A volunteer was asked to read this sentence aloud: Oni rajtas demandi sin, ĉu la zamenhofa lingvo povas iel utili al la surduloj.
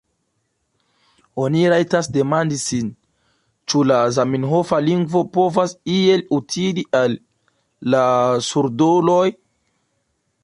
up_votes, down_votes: 2, 1